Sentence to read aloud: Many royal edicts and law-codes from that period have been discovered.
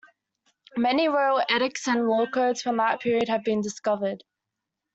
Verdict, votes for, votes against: accepted, 2, 1